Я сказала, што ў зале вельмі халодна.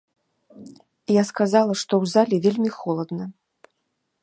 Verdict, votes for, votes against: rejected, 0, 2